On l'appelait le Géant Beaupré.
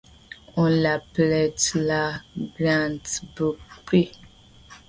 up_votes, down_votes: 1, 2